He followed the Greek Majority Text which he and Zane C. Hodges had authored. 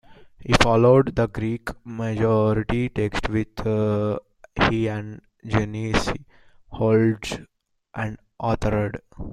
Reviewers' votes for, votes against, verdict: 0, 2, rejected